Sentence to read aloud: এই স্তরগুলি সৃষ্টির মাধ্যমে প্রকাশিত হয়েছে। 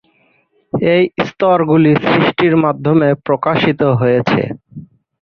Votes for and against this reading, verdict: 18, 24, rejected